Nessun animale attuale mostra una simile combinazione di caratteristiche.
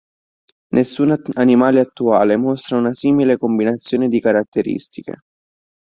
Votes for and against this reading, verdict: 1, 2, rejected